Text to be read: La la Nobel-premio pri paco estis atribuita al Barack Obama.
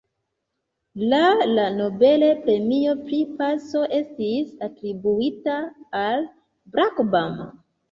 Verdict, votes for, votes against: rejected, 1, 2